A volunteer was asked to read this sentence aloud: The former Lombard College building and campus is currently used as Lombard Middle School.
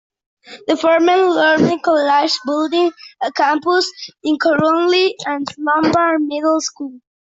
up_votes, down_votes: 0, 2